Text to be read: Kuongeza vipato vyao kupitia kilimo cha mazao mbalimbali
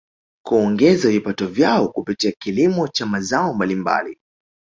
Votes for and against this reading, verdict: 1, 2, rejected